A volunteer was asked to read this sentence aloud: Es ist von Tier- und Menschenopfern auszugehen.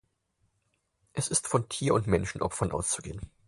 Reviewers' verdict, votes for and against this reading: accepted, 4, 0